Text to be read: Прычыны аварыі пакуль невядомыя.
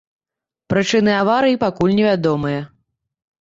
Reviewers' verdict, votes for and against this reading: accepted, 2, 0